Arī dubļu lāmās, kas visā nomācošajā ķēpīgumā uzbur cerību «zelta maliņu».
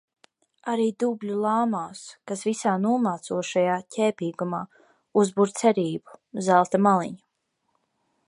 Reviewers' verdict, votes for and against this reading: accepted, 2, 0